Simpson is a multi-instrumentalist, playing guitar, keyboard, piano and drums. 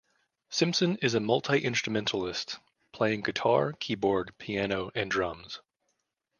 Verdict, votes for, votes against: accepted, 2, 1